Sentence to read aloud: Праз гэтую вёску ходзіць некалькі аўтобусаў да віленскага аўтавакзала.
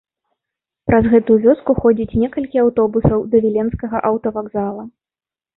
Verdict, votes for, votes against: rejected, 0, 2